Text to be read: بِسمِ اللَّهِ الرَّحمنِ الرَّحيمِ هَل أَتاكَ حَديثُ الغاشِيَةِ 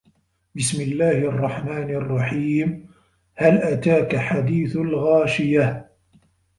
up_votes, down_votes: 2, 0